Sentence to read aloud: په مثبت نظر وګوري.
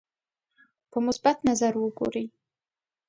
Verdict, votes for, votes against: accepted, 2, 0